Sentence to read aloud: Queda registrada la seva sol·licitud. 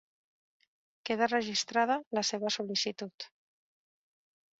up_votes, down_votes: 3, 0